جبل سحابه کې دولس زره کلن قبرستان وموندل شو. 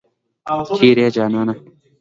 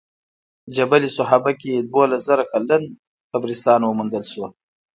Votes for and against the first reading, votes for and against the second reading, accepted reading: 2, 0, 0, 2, first